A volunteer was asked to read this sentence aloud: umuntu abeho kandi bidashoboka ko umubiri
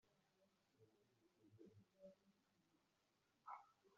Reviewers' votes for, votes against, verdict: 0, 2, rejected